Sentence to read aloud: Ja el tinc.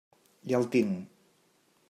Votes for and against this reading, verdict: 2, 0, accepted